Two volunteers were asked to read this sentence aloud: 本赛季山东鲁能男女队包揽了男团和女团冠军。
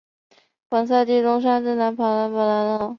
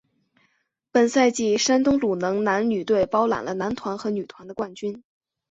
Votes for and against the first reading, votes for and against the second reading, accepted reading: 0, 2, 4, 0, second